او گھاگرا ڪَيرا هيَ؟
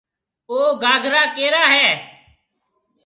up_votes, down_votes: 2, 0